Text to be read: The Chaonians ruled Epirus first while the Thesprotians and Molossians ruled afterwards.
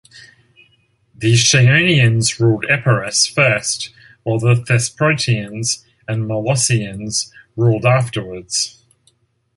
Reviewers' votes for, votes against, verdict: 2, 0, accepted